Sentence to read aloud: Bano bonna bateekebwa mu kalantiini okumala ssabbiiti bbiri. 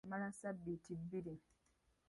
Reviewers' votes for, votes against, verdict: 0, 2, rejected